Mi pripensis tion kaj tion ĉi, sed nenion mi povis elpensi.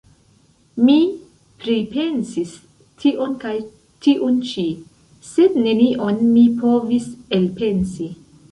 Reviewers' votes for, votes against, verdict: 0, 2, rejected